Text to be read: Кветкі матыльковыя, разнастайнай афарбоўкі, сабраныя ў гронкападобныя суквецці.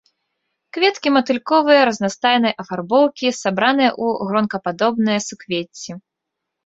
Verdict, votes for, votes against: accepted, 2, 0